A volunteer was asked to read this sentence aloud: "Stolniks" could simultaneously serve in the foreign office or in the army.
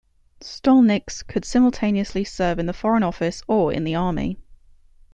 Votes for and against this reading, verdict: 2, 0, accepted